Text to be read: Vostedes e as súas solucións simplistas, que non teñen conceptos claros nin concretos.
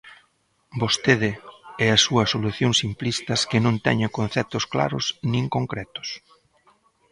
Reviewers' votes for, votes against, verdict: 0, 2, rejected